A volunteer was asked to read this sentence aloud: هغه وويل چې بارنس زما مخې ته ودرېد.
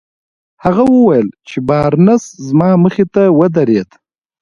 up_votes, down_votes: 0, 2